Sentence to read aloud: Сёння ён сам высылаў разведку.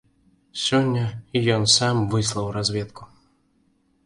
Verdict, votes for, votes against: rejected, 0, 2